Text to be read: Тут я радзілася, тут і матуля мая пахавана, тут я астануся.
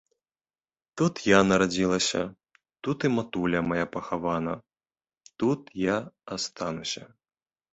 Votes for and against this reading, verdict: 1, 2, rejected